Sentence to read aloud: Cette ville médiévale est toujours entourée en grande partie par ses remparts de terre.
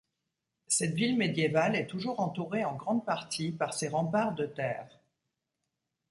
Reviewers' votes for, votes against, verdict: 2, 0, accepted